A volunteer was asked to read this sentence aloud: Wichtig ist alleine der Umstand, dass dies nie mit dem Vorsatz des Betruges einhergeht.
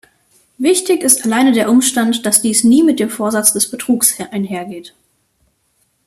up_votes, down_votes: 1, 2